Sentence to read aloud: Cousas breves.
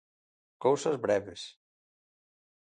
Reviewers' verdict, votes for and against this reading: accepted, 2, 0